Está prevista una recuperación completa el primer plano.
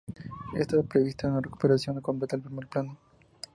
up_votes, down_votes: 0, 2